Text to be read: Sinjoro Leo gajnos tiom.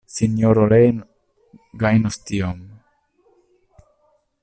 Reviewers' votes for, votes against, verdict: 0, 2, rejected